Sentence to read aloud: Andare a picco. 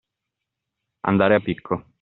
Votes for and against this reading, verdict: 2, 0, accepted